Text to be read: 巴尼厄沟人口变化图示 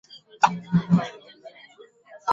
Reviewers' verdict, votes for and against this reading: rejected, 1, 2